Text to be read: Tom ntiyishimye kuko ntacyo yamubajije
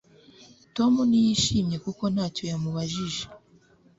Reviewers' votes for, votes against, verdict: 2, 0, accepted